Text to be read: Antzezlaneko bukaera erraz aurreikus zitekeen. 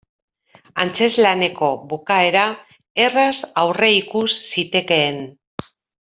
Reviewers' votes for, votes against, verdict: 2, 0, accepted